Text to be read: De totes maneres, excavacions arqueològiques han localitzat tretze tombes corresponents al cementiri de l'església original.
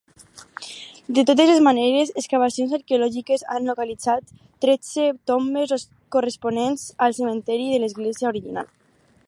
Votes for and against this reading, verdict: 0, 4, rejected